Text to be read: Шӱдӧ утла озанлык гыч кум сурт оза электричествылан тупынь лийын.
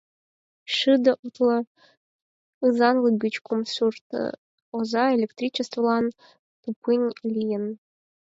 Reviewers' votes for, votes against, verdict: 2, 4, rejected